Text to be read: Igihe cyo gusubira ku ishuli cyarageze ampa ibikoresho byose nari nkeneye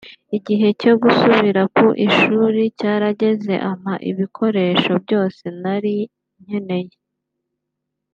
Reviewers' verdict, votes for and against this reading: accepted, 2, 0